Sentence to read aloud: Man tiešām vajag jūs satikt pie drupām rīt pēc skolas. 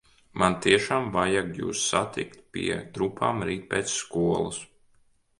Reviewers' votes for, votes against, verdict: 1, 2, rejected